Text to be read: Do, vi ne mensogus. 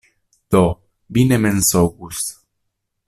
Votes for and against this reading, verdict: 2, 0, accepted